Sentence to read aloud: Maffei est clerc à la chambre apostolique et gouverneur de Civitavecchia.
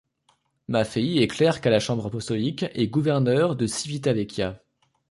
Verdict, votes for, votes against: accepted, 2, 0